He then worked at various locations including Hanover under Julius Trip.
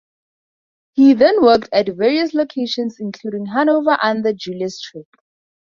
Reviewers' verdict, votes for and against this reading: accepted, 2, 0